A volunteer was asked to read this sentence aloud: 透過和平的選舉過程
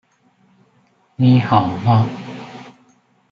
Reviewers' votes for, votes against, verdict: 0, 2, rejected